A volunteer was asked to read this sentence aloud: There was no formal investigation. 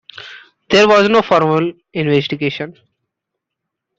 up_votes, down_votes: 2, 0